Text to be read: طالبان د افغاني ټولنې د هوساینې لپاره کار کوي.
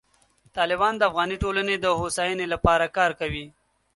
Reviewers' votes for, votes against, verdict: 2, 0, accepted